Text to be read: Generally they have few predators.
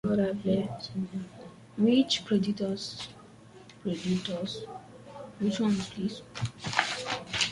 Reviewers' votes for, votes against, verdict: 0, 2, rejected